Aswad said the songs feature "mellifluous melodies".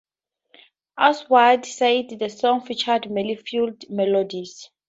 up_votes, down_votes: 2, 2